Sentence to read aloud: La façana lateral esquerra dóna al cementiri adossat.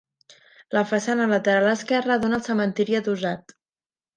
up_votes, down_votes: 3, 0